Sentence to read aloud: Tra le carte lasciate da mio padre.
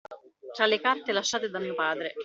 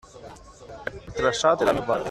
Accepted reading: first